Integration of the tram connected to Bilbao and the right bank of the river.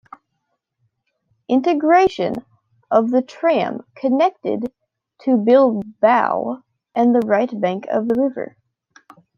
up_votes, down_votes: 0, 2